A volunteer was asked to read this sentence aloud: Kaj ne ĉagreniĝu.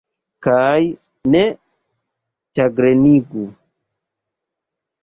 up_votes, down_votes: 1, 2